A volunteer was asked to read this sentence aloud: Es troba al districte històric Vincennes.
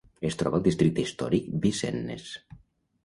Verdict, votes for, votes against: rejected, 1, 2